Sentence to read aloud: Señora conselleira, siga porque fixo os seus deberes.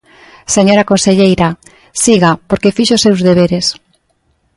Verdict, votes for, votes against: accepted, 2, 0